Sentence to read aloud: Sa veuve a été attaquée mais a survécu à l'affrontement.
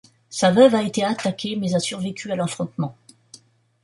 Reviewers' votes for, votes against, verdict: 2, 0, accepted